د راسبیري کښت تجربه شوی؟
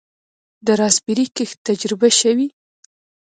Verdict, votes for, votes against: accepted, 2, 0